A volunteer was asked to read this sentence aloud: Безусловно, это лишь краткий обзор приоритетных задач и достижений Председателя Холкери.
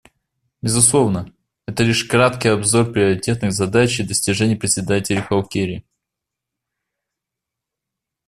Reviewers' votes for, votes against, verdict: 2, 0, accepted